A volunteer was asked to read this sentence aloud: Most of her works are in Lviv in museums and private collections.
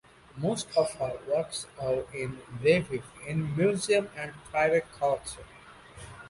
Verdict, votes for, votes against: rejected, 0, 2